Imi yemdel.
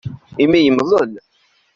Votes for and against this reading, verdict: 0, 2, rejected